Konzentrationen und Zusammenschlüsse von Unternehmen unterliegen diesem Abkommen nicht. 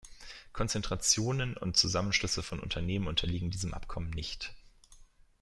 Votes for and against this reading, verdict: 2, 0, accepted